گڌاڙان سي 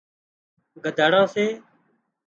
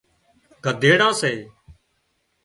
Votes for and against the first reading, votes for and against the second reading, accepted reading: 2, 0, 0, 2, first